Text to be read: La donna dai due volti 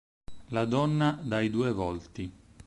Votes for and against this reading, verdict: 4, 0, accepted